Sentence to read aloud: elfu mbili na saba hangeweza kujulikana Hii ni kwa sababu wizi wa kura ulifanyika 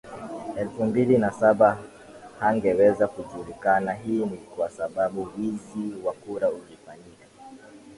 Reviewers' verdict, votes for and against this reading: accepted, 13, 2